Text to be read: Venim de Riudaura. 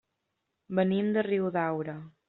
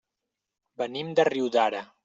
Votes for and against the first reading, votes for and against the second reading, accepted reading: 3, 0, 0, 2, first